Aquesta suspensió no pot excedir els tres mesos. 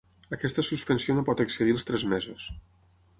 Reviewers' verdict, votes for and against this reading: accepted, 6, 0